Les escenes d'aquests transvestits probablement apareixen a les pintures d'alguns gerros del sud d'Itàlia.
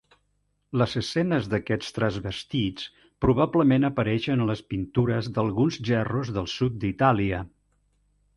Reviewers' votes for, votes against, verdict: 2, 3, rejected